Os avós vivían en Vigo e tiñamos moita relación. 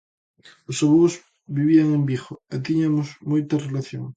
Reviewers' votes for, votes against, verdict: 0, 2, rejected